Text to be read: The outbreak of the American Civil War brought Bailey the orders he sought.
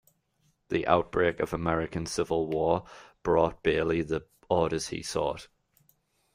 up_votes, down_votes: 2, 1